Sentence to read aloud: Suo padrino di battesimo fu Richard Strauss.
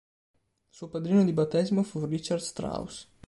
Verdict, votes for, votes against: accepted, 2, 0